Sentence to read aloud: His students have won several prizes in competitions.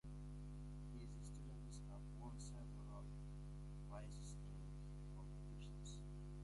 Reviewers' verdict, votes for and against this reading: rejected, 0, 2